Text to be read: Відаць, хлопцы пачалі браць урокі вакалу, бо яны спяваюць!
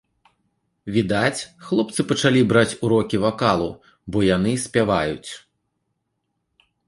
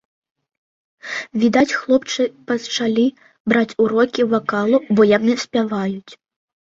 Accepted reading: first